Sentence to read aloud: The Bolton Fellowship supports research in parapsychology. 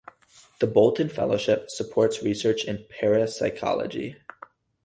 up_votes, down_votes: 4, 0